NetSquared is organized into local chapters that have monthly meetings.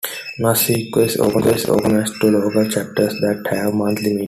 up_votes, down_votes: 0, 2